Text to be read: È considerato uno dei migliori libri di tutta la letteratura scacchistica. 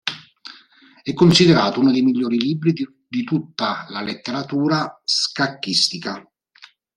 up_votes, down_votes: 1, 2